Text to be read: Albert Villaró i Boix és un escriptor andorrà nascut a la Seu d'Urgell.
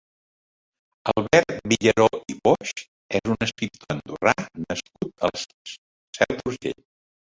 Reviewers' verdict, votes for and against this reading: rejected, 0, 2